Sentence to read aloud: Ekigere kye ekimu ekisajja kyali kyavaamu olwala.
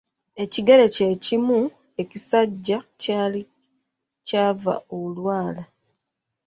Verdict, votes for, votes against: rejected, 2, 3